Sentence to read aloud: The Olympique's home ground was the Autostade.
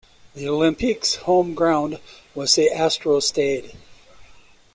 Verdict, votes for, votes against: rejected, 1, 3